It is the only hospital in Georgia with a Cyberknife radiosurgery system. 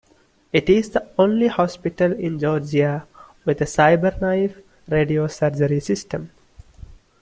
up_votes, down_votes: 2, 0